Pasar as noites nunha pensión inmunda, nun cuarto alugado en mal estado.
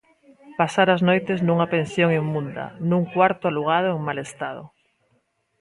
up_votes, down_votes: 2, 0